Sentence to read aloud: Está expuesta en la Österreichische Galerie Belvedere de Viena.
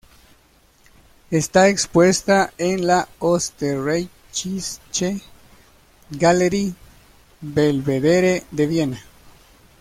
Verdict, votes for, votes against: rejected, 1, 2